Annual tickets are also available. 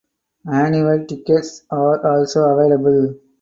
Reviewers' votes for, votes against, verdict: 4, 0, accepted